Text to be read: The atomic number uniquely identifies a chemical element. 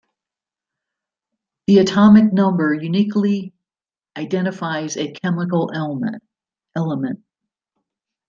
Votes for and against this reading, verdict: 2, 1, accepted